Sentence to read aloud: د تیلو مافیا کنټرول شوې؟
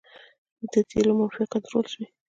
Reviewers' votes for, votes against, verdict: 1, 2, rejected